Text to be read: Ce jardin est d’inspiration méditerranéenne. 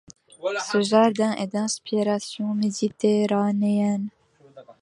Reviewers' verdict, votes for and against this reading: accepted, 2, 0